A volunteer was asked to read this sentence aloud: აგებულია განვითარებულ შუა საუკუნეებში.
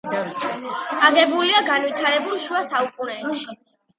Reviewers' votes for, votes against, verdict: 2, 0, accepted